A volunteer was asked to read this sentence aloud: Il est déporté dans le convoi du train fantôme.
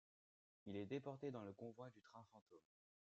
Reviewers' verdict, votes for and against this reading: accepted, 2, 1